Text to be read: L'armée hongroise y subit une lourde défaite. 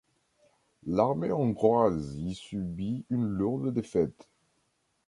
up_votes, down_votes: 2, 0